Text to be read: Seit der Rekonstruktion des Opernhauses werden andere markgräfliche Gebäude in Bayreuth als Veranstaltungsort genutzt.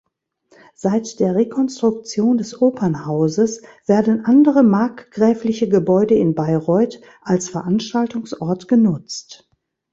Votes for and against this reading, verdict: 2, 0, accepted